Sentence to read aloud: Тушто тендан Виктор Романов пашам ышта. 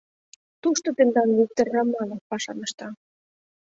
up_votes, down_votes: 2, 0